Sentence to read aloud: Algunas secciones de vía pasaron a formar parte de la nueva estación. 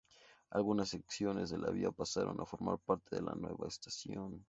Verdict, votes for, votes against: rejected, 0, 2